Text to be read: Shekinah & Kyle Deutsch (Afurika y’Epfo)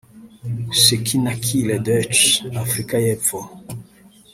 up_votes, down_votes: 0, 2